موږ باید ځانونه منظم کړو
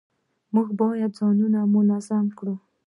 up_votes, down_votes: 2, 1